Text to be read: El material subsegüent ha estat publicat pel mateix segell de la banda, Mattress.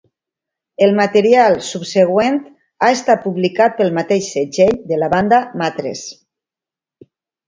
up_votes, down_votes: 2, 0